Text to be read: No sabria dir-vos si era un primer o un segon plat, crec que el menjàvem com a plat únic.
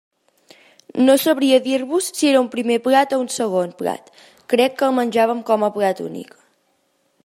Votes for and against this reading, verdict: 0, 2, rejected